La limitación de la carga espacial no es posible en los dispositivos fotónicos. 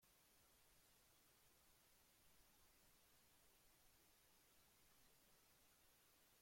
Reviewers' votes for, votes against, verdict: 0, 2, rejected